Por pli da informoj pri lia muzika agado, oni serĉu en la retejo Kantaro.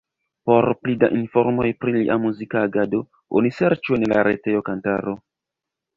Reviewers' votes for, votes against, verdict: 0, 2, rejected